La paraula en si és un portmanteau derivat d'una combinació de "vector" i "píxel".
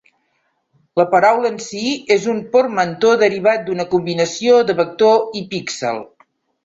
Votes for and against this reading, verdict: 2, 0, accepted